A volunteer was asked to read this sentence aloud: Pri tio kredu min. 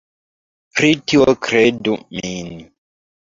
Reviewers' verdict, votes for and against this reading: accepted, 2, 0